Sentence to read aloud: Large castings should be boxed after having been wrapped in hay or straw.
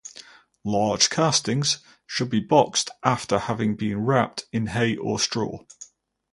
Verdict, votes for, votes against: accepted, 4, 0